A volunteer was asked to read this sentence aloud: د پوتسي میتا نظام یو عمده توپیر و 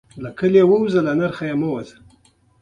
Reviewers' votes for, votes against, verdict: 1, 2, rejected